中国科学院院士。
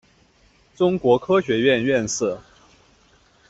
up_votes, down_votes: 2, 0